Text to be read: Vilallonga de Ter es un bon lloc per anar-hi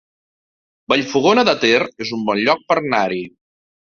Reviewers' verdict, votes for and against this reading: rejected, 0, 2